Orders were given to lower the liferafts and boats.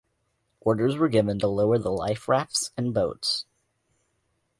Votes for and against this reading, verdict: 2, 0, accepted